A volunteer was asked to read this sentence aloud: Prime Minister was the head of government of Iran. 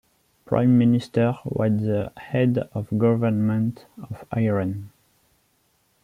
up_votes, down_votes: 2, 0